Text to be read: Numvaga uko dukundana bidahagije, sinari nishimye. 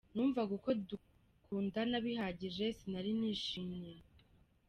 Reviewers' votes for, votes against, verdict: 0, 3, rejected